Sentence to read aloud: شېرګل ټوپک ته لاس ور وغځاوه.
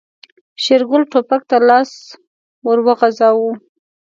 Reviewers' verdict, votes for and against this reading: accepted, 2, 0